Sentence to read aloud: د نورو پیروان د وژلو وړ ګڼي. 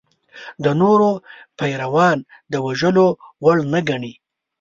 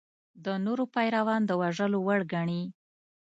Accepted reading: second